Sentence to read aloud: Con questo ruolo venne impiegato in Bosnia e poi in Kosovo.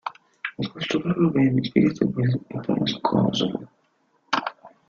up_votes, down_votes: 0, 2